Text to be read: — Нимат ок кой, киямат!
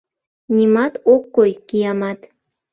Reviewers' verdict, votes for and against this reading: accepted, 2, 0